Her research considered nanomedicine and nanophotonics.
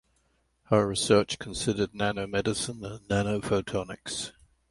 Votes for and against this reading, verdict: 2, 0, accepted